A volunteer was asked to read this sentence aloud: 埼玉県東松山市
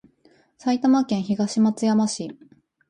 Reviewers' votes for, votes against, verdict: 2, 0, accepted